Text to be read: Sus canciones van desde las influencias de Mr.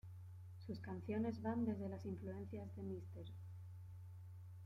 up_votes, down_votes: 1, 2